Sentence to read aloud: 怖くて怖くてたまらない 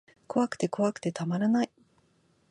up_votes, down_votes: 2, 0